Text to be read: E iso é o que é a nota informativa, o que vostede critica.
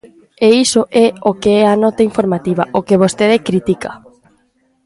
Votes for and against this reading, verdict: 2, 0, accepted